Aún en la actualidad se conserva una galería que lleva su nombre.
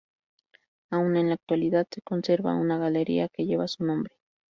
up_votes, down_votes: 0, 2